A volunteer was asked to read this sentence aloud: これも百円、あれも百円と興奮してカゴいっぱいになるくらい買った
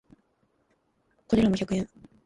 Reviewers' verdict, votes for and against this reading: rejected, 0, 2